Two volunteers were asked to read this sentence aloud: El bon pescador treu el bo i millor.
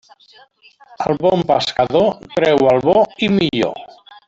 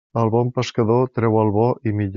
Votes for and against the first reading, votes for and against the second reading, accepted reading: 0, 2, 2, 0, second